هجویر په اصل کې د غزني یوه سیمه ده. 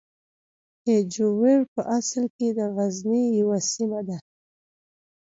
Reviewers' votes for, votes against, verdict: 2, 0, accepted